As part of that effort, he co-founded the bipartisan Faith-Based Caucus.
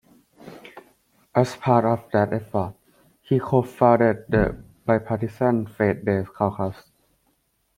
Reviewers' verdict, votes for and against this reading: accepted, 2, 1